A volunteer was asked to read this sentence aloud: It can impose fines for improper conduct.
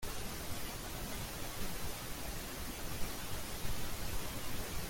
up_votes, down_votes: 0, 2